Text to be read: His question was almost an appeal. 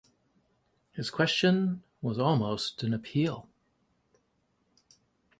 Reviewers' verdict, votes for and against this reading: accepted, 2, 0